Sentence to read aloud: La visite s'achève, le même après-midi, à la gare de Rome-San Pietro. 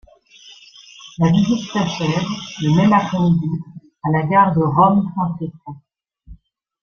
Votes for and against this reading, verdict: 1, 2, rejected